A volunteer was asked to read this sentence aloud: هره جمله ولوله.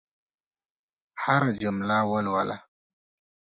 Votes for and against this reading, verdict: 2, 0, accepted